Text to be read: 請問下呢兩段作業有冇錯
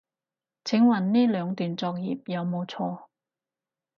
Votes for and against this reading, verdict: 2, 4, rejected